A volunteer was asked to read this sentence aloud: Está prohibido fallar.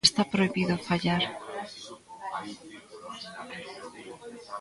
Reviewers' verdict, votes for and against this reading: rejected, 1, 2